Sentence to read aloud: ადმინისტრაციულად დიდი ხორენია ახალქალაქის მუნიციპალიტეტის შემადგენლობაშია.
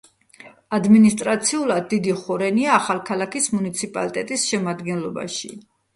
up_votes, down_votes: 1, 2